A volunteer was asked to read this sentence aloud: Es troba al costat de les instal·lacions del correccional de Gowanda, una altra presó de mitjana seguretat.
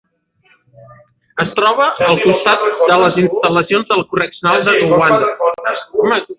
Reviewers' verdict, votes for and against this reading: rejected, 0, 2